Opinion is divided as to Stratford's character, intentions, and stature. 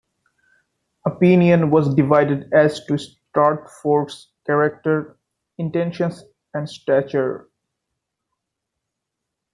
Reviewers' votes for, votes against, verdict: 1, 2, rejected